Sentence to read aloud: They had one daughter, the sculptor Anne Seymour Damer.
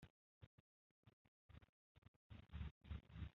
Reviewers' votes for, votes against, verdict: 0, 2, rejected